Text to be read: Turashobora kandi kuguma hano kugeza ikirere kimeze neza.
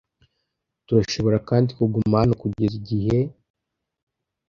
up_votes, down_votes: 1, 2